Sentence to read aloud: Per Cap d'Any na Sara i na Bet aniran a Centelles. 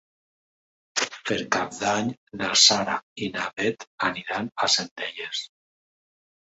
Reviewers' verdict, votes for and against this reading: accepted, 2, 0